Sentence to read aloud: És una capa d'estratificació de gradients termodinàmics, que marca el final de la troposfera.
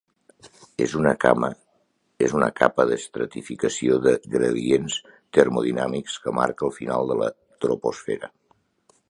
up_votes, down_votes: 1, 2